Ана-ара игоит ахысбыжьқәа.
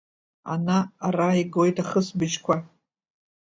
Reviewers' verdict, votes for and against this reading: accepted, 2, 0